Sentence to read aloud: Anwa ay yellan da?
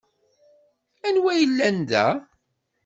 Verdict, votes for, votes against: accepted, 2, 0